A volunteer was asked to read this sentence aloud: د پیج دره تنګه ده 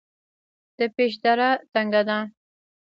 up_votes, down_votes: 1, 2